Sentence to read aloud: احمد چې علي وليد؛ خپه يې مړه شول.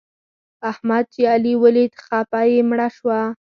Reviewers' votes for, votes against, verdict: 2, 4, rejected